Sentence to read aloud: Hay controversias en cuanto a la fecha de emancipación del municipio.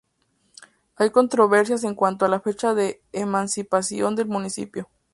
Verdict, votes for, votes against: accepted, 4, 0